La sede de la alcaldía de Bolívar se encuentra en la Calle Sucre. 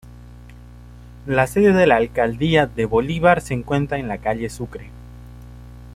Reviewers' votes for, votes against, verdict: 2, 0, accepted